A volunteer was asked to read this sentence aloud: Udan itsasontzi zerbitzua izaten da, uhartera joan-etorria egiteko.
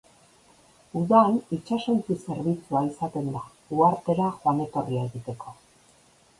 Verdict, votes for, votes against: accepted, 3, 1